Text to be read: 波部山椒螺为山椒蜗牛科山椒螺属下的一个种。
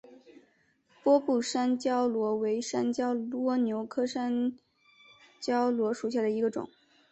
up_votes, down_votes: 2, 1